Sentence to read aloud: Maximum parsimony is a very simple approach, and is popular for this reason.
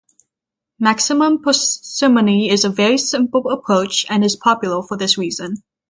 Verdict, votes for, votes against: accepted, 3, 0